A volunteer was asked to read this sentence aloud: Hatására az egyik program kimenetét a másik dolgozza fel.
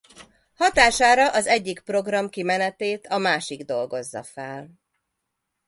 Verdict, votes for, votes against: accepted, 2, 0